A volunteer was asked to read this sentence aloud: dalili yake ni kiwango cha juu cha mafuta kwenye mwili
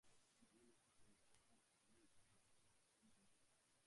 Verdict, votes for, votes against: rejected, 0, 3